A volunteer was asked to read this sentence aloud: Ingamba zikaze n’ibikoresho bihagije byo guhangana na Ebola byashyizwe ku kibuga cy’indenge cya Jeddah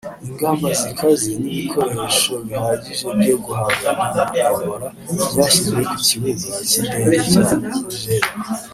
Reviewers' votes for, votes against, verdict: 2, 0, accepted